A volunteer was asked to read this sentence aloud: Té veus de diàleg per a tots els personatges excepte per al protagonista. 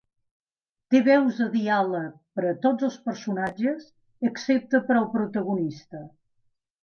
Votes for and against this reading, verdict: 2, 0, accepted